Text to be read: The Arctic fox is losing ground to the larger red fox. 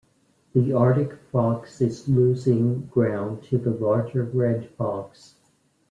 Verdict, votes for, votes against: accepted, 2, 0